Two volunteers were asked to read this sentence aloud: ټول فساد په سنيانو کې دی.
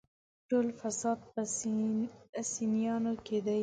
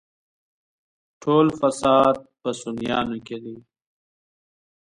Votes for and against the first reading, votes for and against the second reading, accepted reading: 2, 1, 1, 2, first